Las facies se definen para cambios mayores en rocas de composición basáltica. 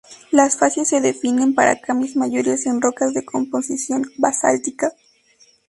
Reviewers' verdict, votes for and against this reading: rejected, 0, 2